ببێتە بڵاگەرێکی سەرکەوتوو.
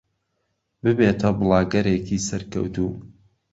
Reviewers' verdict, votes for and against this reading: accepted, 2, 0